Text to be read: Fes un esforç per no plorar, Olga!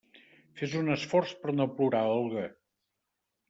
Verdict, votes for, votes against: accepted, 3, 0